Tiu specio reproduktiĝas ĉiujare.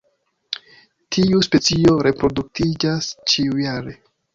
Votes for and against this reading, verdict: 2, 1, accepted